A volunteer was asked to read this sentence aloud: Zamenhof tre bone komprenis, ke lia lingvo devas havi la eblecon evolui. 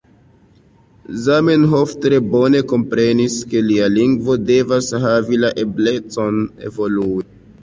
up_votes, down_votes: 2, 1